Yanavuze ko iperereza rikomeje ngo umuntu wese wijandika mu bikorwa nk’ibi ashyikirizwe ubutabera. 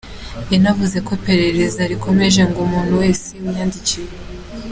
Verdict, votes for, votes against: accepted, 2, 1